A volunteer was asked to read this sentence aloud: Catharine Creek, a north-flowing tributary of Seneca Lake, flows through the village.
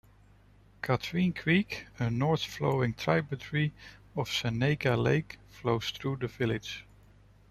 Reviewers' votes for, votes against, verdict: 1, 2, rejected